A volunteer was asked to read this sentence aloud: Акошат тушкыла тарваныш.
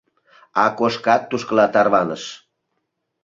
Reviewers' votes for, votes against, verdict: 0, 2, rejected